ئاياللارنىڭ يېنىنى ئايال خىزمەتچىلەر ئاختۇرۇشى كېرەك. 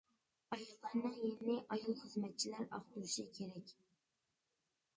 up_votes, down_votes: 0, 2